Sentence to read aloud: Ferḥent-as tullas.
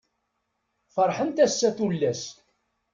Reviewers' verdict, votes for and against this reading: rejected, 1, 2